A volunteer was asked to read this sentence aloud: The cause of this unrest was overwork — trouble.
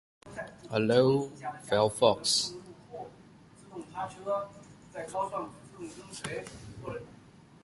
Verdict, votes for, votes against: rejected, 0, 2